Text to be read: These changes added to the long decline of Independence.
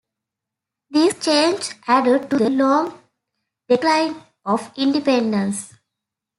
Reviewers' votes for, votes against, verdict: 2, 0, accepted